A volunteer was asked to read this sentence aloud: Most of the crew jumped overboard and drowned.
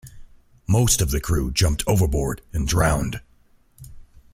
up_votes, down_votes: 2, 0